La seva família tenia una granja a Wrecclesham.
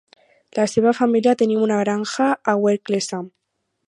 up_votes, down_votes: 0, 4